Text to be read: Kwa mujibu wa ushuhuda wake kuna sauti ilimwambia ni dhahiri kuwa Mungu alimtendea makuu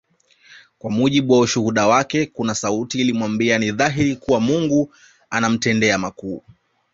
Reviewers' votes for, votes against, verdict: 2, 0, accepted